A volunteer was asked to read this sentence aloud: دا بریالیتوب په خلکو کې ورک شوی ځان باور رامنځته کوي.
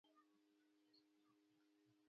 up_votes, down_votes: 1, 2